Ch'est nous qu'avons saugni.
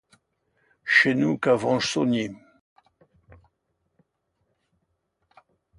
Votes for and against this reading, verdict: 2, 0, accepted